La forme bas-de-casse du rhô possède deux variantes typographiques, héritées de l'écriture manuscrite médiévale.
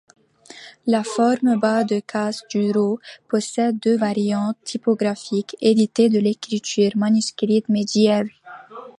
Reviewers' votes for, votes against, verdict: 0, 2, rejected